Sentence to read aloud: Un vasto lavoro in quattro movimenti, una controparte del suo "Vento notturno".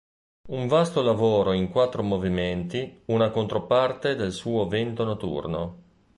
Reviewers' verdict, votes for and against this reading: rejected, 0, 2